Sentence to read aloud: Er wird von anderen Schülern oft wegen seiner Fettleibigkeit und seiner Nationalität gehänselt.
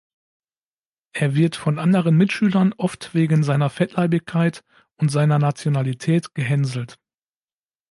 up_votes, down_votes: 1, 2